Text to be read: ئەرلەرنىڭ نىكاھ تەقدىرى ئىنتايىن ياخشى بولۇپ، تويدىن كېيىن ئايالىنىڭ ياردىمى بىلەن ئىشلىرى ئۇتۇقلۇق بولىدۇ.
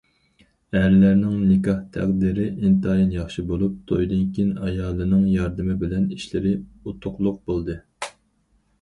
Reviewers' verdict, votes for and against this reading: rejected, 0, 4